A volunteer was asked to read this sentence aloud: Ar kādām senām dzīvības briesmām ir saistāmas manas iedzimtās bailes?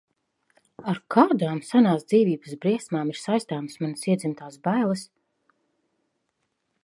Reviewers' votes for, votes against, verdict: 0, 2, rejected